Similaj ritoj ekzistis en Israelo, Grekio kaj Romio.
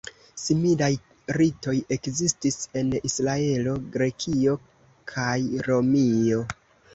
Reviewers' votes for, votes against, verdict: 2, 1, accepted